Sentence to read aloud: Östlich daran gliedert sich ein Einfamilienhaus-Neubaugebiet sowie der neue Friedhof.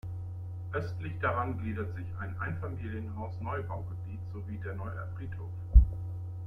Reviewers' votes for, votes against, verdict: 2, 0, accepted